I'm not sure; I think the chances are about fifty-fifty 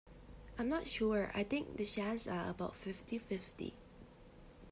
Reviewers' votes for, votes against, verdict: 0, 2, rejected